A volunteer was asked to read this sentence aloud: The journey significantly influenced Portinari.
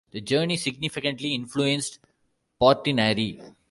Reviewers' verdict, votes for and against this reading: rejected, 1, 2